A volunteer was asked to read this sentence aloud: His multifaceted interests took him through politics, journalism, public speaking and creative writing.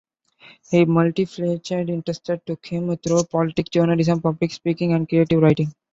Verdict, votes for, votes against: rejected, 0, 2